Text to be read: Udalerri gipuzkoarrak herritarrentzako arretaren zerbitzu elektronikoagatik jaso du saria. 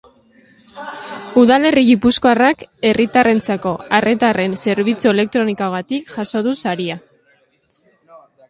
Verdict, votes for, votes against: rejected, 0, 2